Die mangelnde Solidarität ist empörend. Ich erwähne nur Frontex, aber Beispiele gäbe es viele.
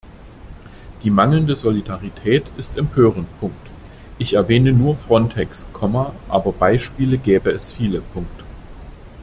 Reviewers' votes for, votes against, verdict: 1, 2, rejected